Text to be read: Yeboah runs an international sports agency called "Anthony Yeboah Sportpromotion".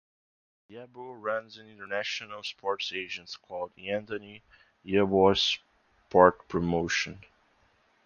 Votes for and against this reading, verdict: 0, 2, rejected